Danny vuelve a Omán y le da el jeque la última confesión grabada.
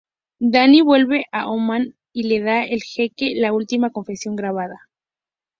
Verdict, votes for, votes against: accepted, 2, 0